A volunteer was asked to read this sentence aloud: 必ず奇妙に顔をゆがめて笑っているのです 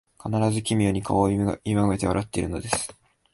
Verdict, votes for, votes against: accepted, 3, 0